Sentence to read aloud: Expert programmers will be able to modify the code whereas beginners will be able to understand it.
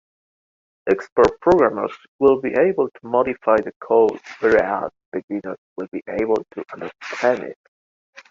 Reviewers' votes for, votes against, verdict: 2, 0, accepted